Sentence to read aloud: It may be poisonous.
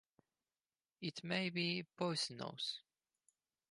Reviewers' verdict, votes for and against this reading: accepted, 2, 0